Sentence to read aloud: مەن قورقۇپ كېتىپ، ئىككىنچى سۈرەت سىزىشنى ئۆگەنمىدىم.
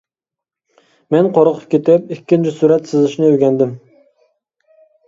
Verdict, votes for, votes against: rejected, 0, 3